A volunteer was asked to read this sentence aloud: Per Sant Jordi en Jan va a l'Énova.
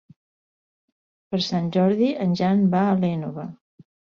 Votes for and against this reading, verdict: 2, 0, accepted